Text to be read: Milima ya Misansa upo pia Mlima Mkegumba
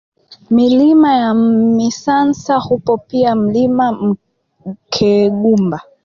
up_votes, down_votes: 0, 2